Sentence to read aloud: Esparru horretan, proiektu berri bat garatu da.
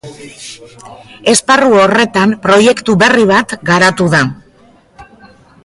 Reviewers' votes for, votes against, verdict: 1, 2, rejected